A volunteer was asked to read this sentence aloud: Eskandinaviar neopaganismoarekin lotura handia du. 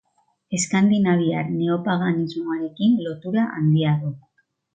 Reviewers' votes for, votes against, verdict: 5, 0, accepted